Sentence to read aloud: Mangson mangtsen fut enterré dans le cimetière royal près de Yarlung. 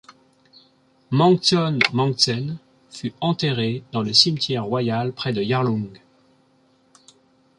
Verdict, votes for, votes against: accepted, 3, 0